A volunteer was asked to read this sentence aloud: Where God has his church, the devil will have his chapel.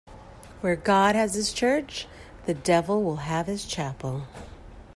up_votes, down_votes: 2, 0